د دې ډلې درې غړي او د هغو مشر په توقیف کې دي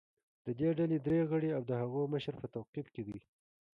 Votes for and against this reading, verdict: 2, 0, accepted